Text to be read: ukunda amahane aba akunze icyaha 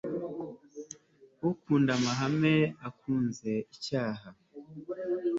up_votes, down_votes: 2, 0